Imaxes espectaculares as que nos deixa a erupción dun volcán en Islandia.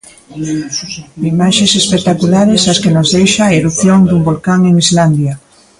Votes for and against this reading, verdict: 2, 1, accepted